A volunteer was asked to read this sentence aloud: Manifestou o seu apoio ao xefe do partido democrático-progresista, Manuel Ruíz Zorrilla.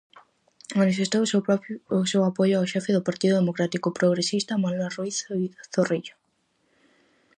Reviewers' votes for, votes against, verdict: 0, 4, rejected